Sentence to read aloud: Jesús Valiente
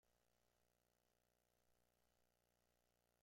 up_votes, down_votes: 1, 2